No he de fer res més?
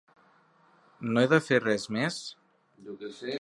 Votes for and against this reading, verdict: 1, 3, rejected